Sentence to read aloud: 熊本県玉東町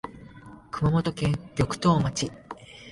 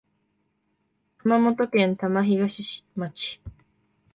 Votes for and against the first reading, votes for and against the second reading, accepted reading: 2, 1, 1, 2, first